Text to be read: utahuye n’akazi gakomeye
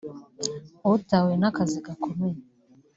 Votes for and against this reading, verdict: 0, 2, rejected